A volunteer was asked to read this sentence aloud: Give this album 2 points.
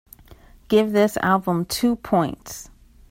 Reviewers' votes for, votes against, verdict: 0, 2, rejected